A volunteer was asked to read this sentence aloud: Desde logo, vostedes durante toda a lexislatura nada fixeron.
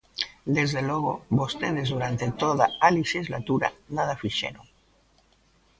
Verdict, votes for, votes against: rejected, 1, 2